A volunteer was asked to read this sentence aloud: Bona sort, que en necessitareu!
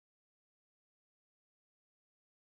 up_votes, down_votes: 0, 2